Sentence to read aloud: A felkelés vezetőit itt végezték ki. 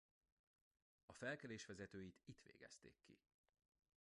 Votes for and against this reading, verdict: 1, 2, rejected